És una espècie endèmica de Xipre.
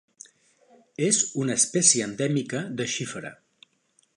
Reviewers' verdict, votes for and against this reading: rejected, 1, 4